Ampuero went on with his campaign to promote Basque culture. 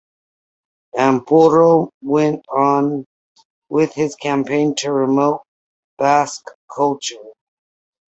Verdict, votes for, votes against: rejected, 1, 2